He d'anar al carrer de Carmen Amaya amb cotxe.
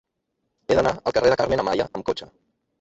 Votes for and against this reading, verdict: 2, 1, accepted